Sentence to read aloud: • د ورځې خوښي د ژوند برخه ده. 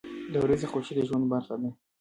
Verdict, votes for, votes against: rejected, 1, 2